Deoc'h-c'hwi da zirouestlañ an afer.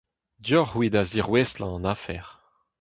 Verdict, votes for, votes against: accepted, 4, 0